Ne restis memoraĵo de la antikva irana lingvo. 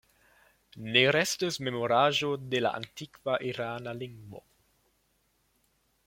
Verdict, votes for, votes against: accepted, 2, 1